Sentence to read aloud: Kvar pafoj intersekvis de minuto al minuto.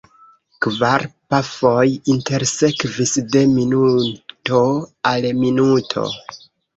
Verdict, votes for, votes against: accepted, 2, 1